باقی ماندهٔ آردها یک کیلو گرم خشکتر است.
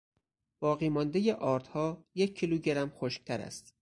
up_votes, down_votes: 4, 0